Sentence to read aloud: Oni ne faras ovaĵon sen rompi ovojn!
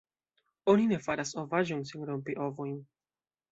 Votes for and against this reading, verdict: 2, 0, accepted